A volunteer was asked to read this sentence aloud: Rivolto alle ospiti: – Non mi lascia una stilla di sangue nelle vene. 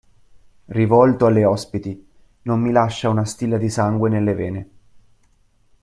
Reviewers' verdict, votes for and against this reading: accepted, 2, 0